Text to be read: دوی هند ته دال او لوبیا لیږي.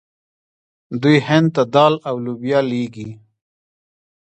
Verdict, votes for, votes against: rejected, 1, 2